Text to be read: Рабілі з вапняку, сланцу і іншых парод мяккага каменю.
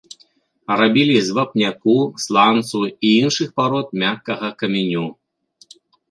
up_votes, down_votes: 2, 0